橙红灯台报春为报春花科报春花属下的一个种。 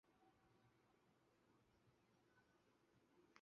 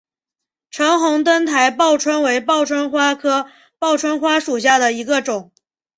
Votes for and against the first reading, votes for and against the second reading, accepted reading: 0, 3, 3, 0, second